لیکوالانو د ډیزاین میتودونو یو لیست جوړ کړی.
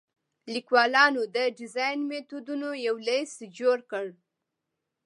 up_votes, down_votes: 2, 0